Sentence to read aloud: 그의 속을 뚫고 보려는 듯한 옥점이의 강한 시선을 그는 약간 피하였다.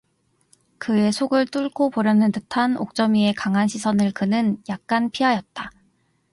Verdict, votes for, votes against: accepted, 2, 0